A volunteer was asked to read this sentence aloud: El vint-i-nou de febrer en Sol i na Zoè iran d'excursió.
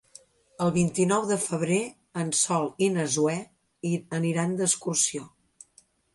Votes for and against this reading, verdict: 2, 3, rejected